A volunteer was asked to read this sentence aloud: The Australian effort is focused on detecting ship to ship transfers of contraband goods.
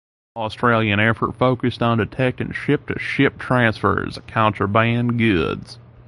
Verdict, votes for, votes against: rejected, 0, 2